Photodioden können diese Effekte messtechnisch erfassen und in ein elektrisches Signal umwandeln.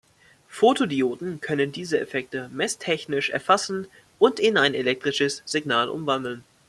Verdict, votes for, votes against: accepted, 2, 0